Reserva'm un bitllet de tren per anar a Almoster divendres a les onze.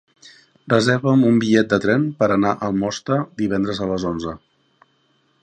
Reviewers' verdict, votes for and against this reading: rejected, 1, 2